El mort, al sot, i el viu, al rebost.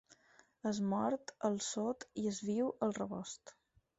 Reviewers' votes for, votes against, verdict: 0, 4, rejected